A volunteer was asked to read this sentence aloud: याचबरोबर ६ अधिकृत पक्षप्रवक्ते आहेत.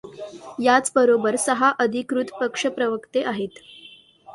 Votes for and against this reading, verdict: 0, 2, rejected